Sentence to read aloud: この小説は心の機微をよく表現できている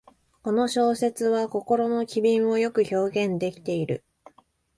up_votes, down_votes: 1, 2